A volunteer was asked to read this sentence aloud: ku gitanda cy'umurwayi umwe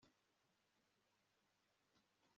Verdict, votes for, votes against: rejected, 1, 2